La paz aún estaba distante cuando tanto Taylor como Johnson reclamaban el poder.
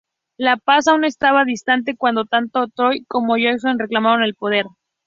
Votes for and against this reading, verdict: 0, 2, rejected